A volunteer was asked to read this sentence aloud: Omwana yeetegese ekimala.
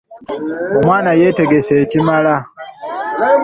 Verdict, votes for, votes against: accepted, 2, 0